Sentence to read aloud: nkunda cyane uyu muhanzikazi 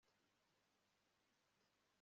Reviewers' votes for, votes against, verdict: 1, 2, rejected